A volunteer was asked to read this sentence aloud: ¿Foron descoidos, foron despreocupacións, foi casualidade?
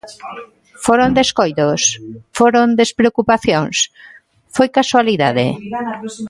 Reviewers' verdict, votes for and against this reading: rejected, 1, 2